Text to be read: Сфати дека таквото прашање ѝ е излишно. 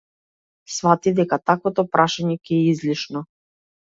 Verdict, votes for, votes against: rejected, 0, 2